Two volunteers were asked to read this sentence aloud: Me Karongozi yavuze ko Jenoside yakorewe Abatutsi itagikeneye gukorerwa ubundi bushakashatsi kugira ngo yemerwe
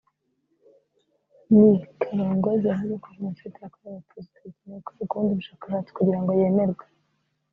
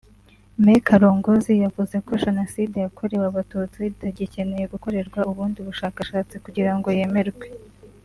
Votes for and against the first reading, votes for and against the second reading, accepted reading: 1, 2, 2, 0, second